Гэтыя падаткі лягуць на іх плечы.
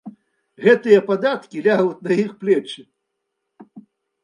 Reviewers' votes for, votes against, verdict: 2, 1, accepted